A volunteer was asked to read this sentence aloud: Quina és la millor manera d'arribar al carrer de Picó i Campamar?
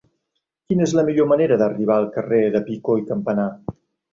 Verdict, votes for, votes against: rejected, 2, 3